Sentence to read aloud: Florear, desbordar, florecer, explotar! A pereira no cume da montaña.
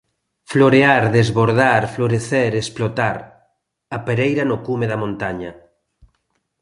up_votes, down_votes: 2, 0